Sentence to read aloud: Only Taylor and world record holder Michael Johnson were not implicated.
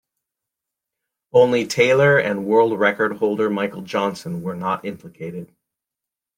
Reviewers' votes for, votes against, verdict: 2, 0, accepted